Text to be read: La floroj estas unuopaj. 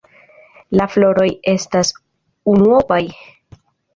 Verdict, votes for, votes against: accepted, 2, 0